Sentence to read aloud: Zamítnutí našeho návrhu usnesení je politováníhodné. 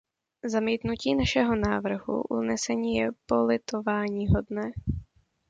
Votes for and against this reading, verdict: 1, 2, rejected